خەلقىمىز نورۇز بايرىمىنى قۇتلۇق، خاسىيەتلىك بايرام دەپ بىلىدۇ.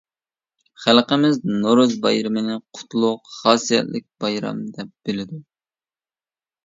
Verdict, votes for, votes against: accepted, 2, 0